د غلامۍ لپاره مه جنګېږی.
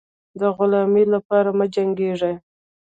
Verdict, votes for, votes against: rejected, 0, 2